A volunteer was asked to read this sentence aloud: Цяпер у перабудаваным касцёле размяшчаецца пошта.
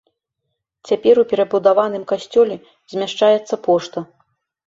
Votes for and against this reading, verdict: 0, 2, rejected